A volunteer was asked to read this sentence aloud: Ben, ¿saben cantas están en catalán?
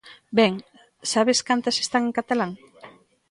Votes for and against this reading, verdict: 2, 0, accepted